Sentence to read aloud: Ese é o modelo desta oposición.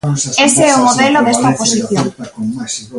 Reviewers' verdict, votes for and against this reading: rejected, 0, 2